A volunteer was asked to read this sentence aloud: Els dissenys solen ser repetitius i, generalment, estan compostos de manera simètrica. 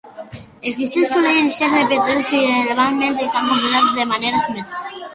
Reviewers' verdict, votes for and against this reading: rejected, 0, 2